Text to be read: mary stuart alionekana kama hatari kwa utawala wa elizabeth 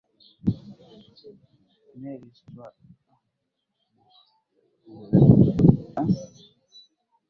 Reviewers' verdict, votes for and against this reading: rejected, 0, 2